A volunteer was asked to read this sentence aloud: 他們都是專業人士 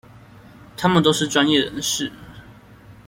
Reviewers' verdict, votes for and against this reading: accepted, 2, 0